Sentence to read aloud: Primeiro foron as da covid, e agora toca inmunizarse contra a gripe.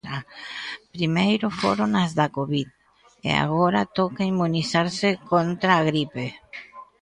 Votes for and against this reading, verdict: 0, 2, rejected